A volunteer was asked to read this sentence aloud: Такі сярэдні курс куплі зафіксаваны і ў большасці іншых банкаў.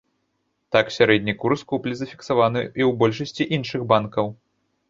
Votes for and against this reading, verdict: 1, 2, rejected